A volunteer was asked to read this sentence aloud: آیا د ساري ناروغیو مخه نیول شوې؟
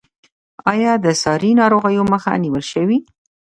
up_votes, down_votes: 1, 2